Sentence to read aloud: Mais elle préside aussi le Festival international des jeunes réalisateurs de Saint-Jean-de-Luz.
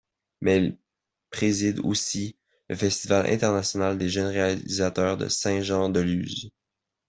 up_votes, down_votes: 1, 2